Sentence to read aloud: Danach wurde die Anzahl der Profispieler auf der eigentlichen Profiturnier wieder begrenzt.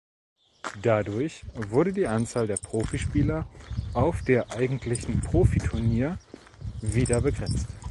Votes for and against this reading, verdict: 0, 3, rejected